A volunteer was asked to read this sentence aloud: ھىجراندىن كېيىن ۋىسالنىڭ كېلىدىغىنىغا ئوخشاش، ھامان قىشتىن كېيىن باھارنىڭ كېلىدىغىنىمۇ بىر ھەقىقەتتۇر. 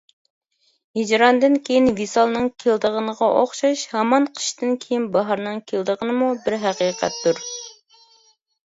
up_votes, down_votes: 2, 0